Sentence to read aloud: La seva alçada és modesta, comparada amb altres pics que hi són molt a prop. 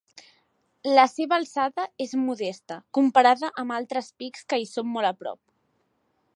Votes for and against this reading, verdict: 2, 0, accepted